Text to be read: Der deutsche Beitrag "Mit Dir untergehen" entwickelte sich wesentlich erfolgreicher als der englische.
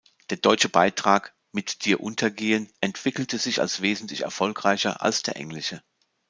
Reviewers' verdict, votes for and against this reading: rejected, 1, 2